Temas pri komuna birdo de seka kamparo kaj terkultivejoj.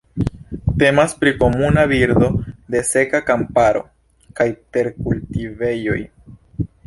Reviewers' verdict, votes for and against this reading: accepted, 2, 0